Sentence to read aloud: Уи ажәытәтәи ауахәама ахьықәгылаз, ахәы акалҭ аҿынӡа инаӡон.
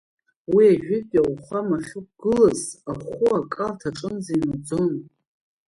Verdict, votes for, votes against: accepted, 2, 0